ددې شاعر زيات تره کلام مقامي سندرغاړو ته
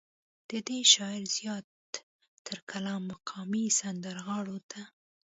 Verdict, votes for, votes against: rejected, 1, 2